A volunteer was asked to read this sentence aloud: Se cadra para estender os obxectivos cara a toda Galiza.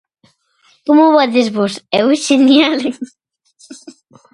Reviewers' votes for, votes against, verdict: 0, 2, rejected